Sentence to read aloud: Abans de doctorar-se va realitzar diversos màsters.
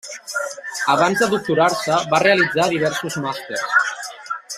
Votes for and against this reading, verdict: 1, 2, rejected